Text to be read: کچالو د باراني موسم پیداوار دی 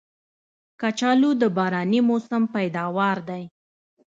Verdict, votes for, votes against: accepted, 2, 1